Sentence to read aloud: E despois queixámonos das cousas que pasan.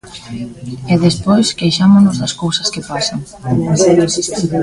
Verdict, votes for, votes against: rejected, 1, 2